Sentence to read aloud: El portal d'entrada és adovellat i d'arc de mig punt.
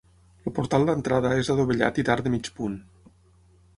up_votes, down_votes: 6, 0